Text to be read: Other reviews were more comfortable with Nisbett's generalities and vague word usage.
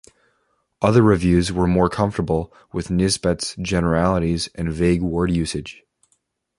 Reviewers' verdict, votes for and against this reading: accepted, 2, 0